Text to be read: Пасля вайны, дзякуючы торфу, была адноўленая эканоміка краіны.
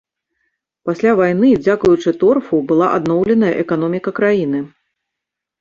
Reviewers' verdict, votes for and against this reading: accepted, 3, 0